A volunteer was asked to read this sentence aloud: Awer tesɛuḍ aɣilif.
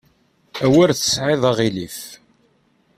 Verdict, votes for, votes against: rejected, 0, 2